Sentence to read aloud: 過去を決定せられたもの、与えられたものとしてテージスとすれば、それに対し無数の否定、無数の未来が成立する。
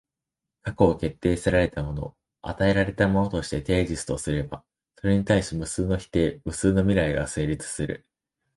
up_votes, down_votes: 2, 0